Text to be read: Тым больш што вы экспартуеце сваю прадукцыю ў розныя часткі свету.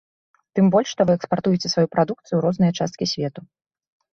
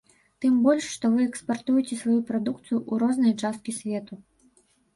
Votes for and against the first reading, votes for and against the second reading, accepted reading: 2, 0, 1, 2, first